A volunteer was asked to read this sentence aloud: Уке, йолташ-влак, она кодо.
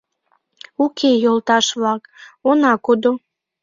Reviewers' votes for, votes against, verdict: 2, 0, accepted